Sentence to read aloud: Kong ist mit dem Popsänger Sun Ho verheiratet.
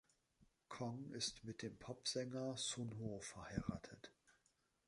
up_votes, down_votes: 2, 0